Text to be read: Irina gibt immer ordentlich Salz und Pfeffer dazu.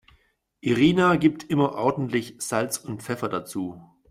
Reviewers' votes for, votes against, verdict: 2, 0, accepted